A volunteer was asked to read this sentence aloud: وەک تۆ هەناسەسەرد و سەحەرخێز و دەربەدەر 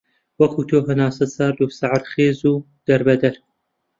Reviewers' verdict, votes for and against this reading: rejected, 0, 2